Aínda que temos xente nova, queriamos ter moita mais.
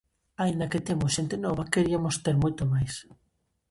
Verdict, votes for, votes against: rejected, 0, 2